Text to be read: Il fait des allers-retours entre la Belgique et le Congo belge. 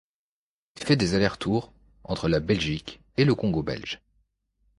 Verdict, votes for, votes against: rejected, 1, 2